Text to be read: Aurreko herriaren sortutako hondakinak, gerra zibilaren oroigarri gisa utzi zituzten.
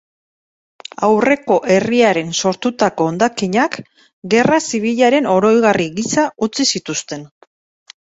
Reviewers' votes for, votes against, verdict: 2, 0, accepted